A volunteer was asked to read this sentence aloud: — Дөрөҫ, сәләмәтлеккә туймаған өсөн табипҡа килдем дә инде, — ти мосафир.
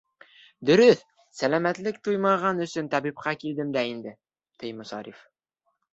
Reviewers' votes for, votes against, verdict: 1, 2, rejected